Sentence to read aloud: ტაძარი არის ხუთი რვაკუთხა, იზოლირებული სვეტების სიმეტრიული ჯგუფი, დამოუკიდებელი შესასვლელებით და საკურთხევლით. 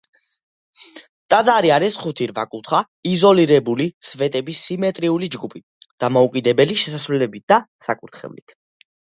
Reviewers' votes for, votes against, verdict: 2, 0, accepted